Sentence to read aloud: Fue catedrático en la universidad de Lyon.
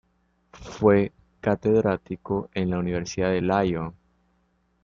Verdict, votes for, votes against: rejected, 0, 2